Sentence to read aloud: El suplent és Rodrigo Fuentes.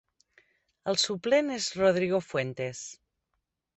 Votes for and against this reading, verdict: 3, 0, accepted